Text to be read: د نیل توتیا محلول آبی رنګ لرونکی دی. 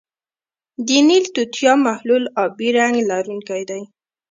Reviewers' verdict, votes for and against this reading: rejected, 1, 2